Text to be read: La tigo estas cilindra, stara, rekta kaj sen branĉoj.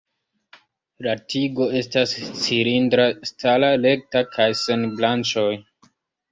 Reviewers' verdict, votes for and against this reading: rejected, 1, 2